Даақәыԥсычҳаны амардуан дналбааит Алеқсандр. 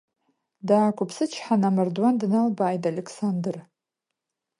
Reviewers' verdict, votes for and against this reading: accepted, 2, 1